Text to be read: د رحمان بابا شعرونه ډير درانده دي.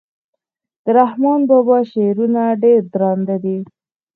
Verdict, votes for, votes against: accepted, 4, 0